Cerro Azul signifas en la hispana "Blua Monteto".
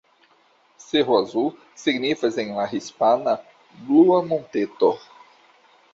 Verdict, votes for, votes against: accepted, 2, 1